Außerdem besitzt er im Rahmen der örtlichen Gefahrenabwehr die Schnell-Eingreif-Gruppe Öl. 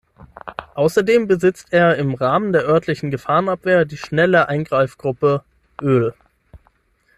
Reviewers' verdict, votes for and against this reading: rejected, 0, 6